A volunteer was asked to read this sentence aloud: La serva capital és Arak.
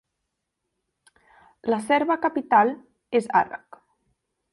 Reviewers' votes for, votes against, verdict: 3, 0, accepted